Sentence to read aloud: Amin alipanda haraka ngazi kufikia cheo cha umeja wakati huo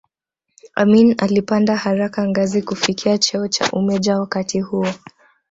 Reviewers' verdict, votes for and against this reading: accepted, 2, 0